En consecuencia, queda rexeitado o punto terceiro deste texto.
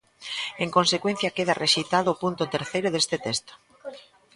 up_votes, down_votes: 2, 1